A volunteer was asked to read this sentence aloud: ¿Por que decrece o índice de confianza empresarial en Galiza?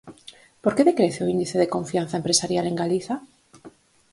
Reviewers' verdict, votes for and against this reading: accepted, 4, 0